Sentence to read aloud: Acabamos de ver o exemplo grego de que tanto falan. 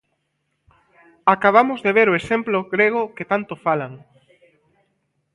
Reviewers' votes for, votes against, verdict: 0, 2, rejected